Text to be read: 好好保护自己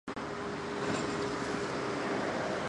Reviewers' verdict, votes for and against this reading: rejected, 0, 2